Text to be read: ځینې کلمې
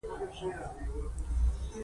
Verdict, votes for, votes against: rejected, 0, 2